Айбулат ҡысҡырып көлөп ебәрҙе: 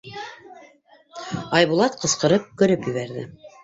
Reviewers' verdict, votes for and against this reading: rejected, 0, 2